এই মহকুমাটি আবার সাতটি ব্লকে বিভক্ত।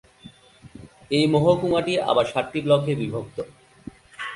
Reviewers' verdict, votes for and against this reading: accepted, 2, 0